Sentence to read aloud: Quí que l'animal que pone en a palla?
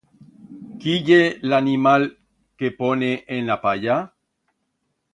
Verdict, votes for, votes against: rejected, 1, 2